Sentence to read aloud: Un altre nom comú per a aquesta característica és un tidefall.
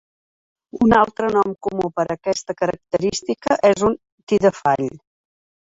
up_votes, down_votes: 0, 2